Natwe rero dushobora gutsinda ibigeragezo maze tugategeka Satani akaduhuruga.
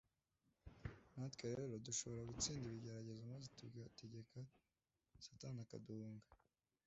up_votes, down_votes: 1, 2